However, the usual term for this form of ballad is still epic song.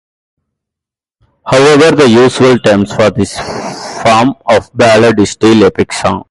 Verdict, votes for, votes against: accepted, 2, 0